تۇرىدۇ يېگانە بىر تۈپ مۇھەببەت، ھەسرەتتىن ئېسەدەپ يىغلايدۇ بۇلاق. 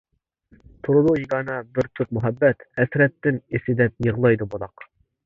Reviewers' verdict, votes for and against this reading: rejected, 0, 2